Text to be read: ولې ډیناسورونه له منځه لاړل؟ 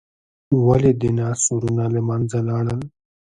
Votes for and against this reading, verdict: 1, 2, rejected